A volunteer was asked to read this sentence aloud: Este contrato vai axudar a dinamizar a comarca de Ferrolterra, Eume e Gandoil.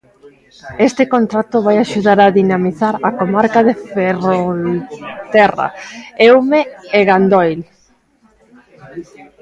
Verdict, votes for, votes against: rejected, 0, 2